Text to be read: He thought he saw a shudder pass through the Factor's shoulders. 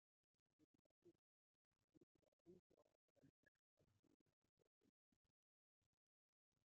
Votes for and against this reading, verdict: 1, 2, rejected